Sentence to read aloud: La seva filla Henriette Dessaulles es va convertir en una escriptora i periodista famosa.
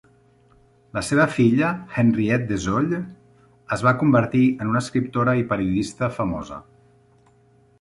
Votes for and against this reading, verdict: 2, 0, accepted